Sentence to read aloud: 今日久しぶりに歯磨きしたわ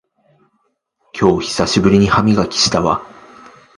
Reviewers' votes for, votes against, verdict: 2, 0, accepted